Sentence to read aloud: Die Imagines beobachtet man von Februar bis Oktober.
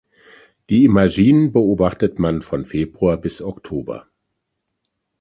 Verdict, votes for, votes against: rejected, 1, 2